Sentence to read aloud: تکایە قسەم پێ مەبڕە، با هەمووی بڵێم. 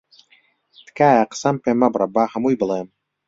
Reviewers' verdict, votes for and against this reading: accepted, 2, 0